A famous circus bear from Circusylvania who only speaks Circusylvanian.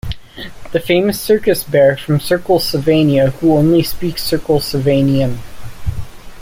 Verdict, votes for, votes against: rejected, 0, 2